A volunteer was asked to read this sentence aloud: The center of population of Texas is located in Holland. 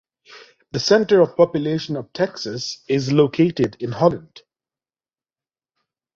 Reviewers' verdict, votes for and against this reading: accepted, 2, 0